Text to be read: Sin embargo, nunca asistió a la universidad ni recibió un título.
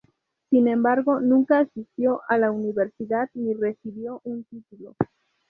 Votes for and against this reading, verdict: 0, 2, rejected